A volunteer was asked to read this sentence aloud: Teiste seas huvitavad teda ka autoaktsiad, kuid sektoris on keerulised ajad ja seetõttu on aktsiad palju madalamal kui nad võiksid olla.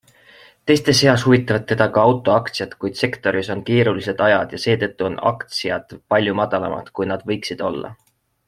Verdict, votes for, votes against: accepted, 2, 1